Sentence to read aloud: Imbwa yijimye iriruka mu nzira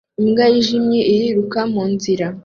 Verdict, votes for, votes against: accepted, 2, 0